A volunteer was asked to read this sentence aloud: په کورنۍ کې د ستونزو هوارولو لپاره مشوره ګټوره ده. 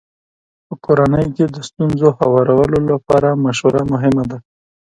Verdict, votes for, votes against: accepted, 2, 0